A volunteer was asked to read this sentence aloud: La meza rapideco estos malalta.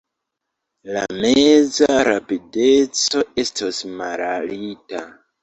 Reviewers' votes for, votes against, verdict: 0, 2, rejected